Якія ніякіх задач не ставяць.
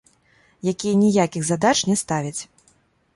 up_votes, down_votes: 2, 0